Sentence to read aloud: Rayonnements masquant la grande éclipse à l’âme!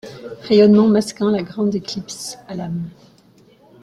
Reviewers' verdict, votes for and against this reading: accepted, 2, 1